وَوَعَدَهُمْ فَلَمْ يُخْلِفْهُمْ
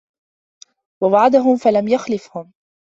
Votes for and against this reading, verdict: 1, 2, rejected